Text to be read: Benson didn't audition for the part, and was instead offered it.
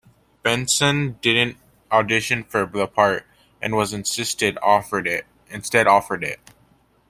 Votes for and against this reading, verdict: 0, 2, rejected